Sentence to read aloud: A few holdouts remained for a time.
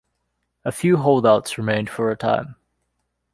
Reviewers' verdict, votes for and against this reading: accepted, 2, 0